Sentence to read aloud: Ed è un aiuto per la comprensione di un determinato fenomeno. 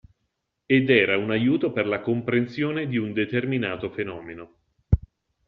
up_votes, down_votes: 1, 2